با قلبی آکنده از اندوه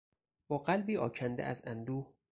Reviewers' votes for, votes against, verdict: 4, 0, accepted